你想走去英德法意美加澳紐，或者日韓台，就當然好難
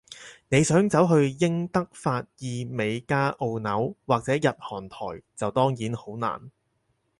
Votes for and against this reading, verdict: 4, 0, accepted